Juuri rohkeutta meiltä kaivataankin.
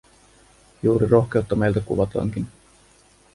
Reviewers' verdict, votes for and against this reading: rejected, 0, 2